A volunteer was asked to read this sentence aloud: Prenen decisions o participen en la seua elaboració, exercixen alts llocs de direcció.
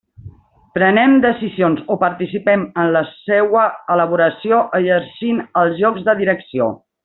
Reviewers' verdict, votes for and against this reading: rejected, 0, 2